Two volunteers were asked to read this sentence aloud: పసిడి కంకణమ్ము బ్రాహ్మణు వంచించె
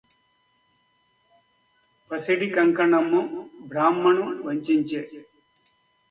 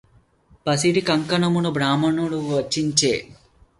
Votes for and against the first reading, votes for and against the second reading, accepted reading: 2, 0, 0, 2, first